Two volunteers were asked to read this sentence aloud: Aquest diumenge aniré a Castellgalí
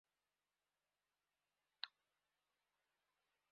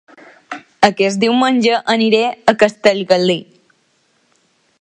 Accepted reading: second